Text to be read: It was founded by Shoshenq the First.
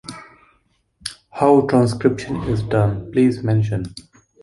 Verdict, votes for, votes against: rejected, 0, 2